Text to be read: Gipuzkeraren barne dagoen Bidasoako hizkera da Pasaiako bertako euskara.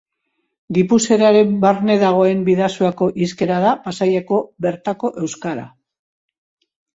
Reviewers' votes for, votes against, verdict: 2, 0, accepted